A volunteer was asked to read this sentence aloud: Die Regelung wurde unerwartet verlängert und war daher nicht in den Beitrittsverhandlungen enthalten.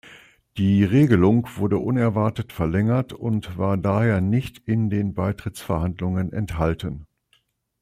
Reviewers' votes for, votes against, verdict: 2, 0, accepted